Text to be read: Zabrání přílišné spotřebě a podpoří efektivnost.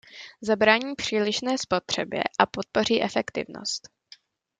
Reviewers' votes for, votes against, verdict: 2, 0, accepted